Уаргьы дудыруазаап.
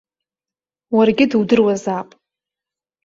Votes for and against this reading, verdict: 2, 1, accepted